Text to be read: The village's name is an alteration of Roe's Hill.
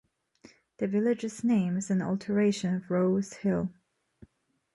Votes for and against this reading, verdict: 2, 0, accepted